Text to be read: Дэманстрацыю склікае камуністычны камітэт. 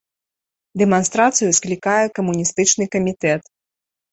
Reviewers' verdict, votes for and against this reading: accepted, 3, 0